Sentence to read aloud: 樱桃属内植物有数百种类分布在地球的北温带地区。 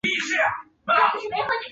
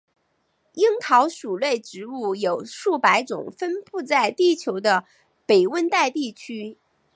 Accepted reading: second